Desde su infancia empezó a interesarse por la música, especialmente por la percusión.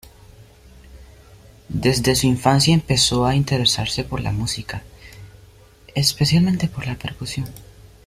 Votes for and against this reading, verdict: 1, 2, rejected